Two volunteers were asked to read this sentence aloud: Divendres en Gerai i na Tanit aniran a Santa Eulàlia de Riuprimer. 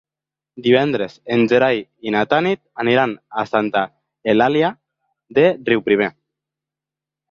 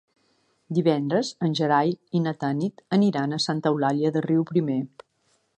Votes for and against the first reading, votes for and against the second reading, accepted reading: 0, 2, 2, 0, second